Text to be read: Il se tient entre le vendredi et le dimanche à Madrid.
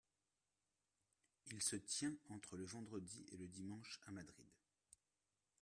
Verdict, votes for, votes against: rejected, 1, 2